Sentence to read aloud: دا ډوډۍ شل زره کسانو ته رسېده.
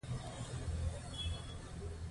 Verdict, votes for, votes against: rejected, 1, 2